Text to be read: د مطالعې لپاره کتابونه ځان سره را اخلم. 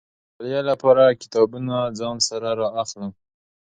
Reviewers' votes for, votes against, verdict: 2, 0, accepted